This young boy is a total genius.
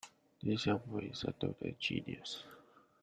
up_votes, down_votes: 0, 2